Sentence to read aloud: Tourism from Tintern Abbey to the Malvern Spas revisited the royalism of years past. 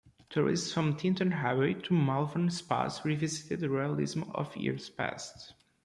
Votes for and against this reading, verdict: 1, 2, rejected